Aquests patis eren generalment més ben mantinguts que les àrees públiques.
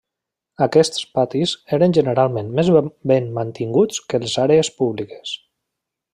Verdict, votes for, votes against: rejected, 0, 2